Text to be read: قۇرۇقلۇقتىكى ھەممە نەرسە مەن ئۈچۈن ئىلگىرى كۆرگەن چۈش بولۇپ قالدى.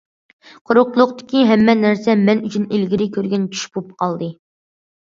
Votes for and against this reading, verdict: 2, 0, accepted